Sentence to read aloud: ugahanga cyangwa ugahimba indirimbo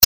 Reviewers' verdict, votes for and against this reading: rejected, 0, 2